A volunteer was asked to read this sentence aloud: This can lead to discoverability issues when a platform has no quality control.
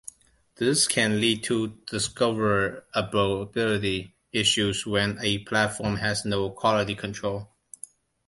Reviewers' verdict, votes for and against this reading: rejected, 0, 2